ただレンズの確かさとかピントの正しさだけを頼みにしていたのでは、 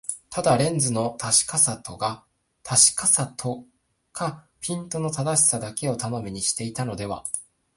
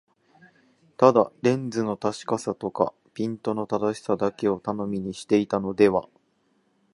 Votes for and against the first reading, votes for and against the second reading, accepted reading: 2, 4, 2, 0, second